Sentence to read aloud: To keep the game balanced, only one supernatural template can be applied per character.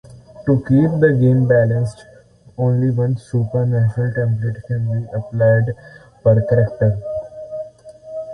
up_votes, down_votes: 2, 1